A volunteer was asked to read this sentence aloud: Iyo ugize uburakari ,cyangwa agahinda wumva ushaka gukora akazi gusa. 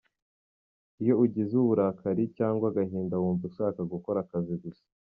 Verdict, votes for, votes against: accepted, 2, 0